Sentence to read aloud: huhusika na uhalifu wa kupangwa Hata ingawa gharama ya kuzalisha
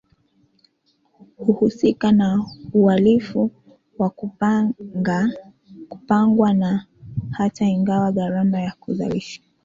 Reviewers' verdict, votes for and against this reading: rejected, 1, 2